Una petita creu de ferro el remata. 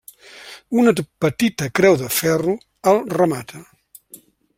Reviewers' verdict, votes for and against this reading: rejected, 0, 2